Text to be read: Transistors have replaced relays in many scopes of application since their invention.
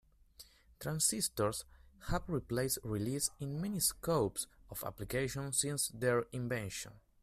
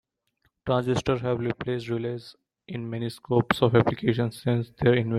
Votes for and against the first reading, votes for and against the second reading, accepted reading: 2, 0, 0, 2, first